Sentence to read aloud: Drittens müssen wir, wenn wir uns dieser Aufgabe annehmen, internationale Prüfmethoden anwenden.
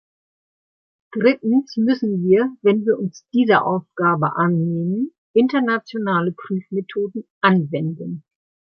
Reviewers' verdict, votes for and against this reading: accepted, 2, 0